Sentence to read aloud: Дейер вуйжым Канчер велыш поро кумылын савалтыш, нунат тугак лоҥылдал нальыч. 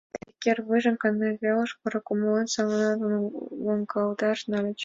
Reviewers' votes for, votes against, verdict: 1, 2, rejected